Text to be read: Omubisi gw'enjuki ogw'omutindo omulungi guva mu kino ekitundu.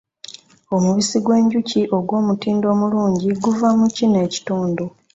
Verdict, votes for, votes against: accepted, 2, 0